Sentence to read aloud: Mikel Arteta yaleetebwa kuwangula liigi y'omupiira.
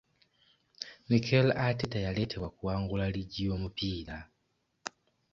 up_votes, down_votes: 2, 0